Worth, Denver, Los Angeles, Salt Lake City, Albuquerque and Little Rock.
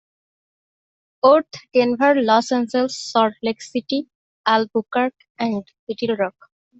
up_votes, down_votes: 0, 2